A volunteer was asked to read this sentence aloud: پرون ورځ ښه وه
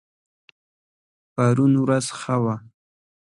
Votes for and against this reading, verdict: 2, 0, accepted